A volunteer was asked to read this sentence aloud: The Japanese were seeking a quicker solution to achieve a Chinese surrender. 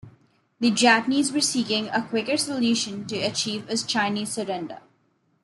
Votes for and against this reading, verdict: 2, 0, accepted